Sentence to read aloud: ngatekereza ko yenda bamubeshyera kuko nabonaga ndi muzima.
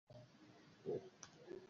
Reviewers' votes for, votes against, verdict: 0, 2, rejected